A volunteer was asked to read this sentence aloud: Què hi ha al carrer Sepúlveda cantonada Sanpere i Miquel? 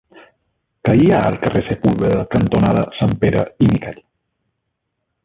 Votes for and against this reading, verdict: 2, 0, accepted